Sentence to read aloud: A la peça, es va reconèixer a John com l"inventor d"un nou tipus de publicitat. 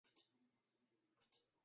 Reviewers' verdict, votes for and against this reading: rejected, 1, 2